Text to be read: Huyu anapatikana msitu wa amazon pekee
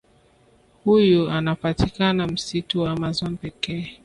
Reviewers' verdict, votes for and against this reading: accepted, 2, 0